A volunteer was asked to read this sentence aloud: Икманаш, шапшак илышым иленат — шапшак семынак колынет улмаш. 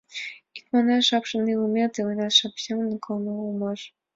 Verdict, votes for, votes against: accepted, 2, 0